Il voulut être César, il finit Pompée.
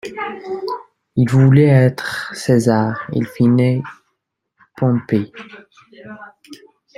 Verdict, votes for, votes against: rejected, 1, 2